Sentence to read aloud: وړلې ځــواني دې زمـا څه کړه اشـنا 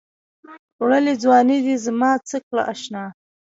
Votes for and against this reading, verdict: 1, 2, rejected